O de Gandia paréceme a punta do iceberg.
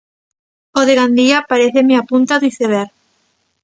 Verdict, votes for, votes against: rejected, 0, 2